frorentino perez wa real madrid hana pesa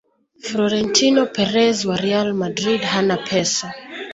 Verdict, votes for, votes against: rejected, 1, 2